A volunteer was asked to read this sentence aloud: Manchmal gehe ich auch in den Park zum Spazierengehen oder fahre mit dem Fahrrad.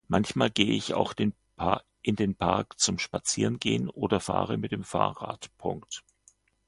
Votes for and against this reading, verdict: 0, 2, rejected